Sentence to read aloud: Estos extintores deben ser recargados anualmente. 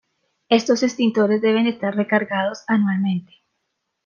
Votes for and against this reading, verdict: 2, 3, rejected